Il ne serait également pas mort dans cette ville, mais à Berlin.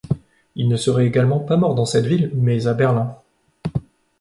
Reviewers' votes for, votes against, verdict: 2, 0, accepted